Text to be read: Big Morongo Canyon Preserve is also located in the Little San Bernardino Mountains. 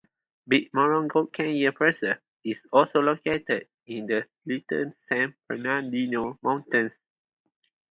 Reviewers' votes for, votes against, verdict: 0, 2, rejected